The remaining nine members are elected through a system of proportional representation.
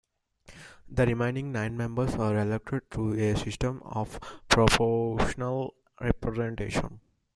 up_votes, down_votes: 0, 2